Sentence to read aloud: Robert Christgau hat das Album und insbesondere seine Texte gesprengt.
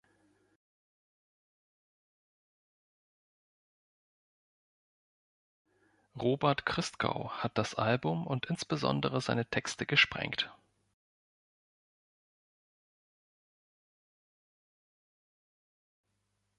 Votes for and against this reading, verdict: 1, 3, rejected